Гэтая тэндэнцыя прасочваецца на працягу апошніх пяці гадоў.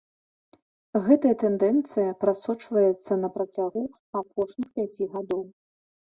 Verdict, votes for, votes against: rejected, 1, 2